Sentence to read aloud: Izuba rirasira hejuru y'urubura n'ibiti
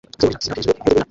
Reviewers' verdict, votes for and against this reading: rejected, 0, 2